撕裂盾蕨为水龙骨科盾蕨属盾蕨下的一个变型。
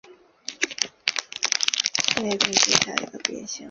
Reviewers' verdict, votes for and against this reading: rejected, 0, 5